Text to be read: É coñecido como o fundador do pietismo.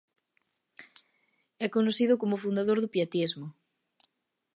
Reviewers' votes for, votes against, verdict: 2, 0, accepted